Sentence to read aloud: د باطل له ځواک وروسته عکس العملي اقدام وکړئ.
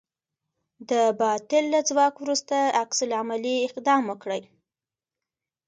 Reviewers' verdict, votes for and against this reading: accepted, 3, 0